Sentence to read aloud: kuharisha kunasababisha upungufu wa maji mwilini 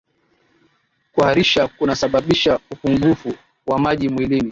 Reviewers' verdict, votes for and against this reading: accepted, 2, 0